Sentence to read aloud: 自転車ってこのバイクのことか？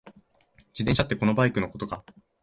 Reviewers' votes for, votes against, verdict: 2, 0, accepted